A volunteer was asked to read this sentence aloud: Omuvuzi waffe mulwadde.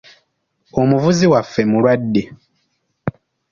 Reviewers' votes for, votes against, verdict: 2, 0, accepted